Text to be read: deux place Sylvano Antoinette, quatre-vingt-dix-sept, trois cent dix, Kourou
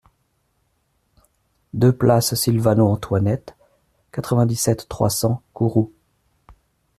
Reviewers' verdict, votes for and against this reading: rejected, 0, 2